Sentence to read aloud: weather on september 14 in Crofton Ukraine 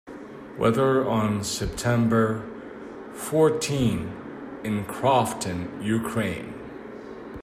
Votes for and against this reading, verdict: 0, 2, rejected